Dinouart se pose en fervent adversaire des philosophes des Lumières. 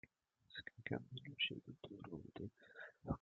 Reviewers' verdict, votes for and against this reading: rejected, 0, 2